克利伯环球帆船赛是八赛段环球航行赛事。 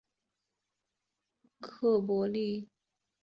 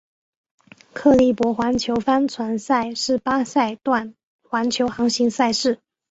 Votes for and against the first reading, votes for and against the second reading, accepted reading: 1, 3, 2, 1, second